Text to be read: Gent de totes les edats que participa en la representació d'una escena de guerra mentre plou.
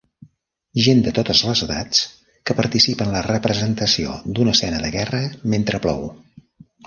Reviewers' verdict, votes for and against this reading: accepted, 3, 0